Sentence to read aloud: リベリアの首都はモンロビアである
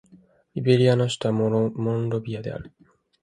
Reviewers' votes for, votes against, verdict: 0, 2, rejected